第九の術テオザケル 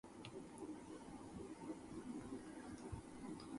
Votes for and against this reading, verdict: 0, 2, rejected